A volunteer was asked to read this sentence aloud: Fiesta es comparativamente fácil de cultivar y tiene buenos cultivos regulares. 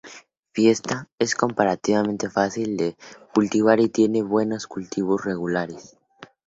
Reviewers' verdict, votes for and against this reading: accepted, 2, 0